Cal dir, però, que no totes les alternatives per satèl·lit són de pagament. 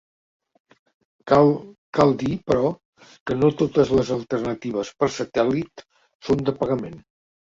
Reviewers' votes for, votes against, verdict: 0, 3, rejected